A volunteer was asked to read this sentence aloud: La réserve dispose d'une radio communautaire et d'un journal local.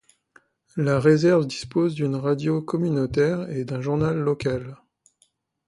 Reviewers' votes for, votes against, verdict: 2, 0, accepted